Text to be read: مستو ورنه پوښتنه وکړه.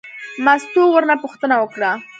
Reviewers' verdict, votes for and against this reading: accepted, 2, 1